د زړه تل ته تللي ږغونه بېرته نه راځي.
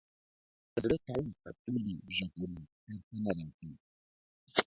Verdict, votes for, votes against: rejected, 0, 2